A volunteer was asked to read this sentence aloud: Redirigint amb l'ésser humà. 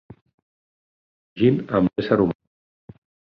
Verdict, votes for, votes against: rejected, 0, 4